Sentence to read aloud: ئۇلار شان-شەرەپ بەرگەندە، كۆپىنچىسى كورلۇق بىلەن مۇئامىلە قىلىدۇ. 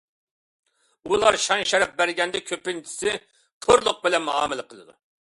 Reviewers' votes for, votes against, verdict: 2, 0, accepted